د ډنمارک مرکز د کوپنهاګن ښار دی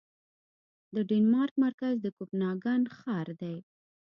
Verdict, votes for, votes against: rejected, 0, 2